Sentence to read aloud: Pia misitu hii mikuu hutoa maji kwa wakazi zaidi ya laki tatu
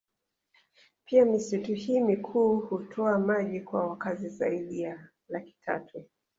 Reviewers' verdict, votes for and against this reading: accepted, 2, 1